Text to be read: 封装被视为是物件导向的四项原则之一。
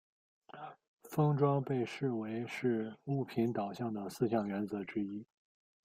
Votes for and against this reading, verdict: 1, 2, rejected